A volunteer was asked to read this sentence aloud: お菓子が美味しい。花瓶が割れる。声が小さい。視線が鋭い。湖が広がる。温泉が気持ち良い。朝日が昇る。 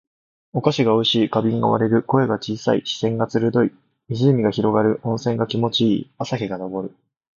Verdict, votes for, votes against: accepted, 2, 0